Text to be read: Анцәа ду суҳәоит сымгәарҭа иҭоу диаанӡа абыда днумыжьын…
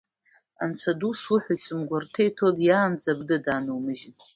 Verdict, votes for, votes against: rejected, 0, 2